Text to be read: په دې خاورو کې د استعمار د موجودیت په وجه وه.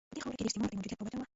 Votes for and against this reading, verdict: 0, 2, rejected